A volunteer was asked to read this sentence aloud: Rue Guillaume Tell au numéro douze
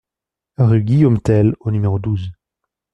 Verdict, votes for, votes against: accepted, 2, 0